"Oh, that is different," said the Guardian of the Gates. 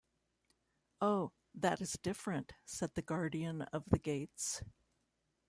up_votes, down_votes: 3, 1